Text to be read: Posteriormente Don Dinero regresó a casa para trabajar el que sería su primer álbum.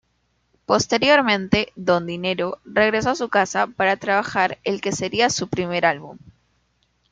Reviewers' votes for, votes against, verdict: 2, 0, accepted